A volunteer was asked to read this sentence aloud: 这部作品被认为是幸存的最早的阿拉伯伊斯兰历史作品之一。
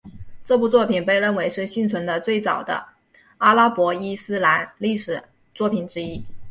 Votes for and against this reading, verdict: 1, 2, rejected